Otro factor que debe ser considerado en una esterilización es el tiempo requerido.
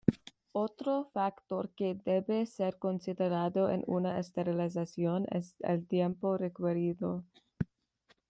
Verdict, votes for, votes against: rejected, 1, 2